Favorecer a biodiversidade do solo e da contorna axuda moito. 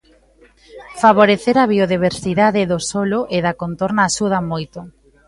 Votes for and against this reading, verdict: 2, 0, accepted